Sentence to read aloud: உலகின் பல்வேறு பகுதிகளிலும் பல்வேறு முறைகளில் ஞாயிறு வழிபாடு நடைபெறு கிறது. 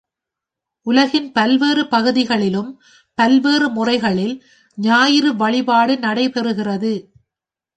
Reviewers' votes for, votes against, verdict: 3, 0, accepted